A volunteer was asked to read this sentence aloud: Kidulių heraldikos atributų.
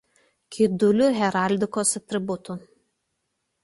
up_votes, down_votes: 2, 0